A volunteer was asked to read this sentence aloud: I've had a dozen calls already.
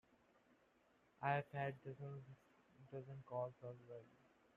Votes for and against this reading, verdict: 0, 2, rejected